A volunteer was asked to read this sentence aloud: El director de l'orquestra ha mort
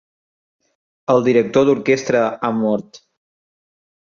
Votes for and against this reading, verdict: 0, 2, rejected